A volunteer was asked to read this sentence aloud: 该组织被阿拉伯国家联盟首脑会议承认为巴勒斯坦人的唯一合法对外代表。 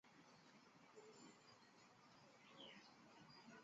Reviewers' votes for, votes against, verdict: 0, 3, rejected